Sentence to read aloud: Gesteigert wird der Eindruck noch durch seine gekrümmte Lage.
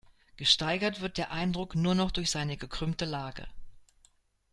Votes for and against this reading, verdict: 0, 2, rejected